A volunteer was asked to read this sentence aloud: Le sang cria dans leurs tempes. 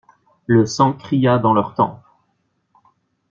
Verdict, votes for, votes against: accepted, 2, 0